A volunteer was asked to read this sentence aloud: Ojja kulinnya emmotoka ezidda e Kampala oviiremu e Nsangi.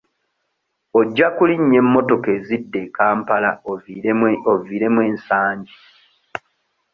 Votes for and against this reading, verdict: 0, 2, rejected